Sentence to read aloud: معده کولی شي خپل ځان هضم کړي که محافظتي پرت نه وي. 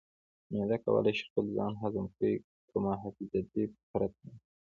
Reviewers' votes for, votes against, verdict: 0, 2, rejected